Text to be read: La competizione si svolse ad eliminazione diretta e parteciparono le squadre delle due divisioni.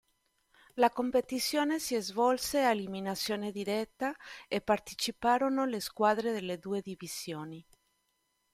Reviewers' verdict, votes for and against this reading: accepted, 2, 0